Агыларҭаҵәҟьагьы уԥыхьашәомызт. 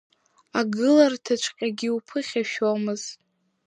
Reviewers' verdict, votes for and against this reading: accepted, 2, 0